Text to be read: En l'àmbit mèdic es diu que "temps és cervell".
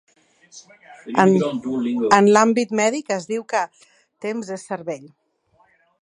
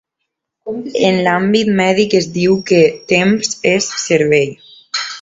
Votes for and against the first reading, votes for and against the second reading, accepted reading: 1, 2, 2, 0, second